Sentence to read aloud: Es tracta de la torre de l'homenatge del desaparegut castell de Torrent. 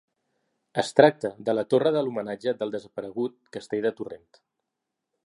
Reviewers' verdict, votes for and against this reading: accepted, 3, 0